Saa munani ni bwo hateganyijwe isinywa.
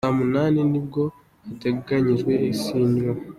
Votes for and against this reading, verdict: 2, 0, accepted